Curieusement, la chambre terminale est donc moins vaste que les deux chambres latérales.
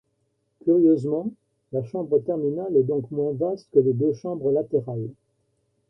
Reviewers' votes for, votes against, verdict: 0, 2, rejected